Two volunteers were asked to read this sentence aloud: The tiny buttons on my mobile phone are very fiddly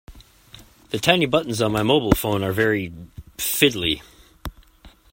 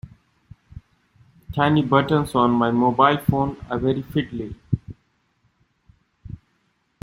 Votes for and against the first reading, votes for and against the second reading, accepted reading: 2, 0, 1, 2, first